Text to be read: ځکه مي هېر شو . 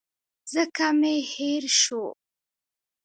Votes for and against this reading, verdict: 0, 2, rejected